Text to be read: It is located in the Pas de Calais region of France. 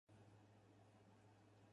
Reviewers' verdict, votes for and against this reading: rejected, 0, 4